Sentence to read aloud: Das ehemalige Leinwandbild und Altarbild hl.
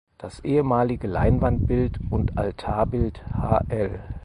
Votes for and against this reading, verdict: 2, 4, rejected